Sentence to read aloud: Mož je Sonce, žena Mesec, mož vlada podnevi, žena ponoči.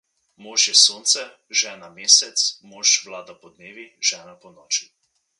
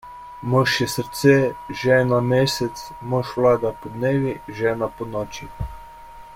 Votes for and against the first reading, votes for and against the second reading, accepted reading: 2, 0, 0, 2, first